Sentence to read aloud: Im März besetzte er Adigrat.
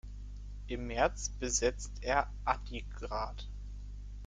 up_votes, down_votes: 0, 2